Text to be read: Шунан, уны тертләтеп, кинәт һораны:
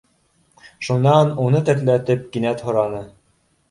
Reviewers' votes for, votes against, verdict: 2, 0, accepted